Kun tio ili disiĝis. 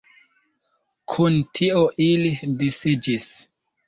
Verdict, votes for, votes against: rejected, 0, 2